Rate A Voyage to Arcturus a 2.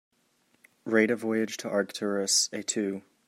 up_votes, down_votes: 0, 2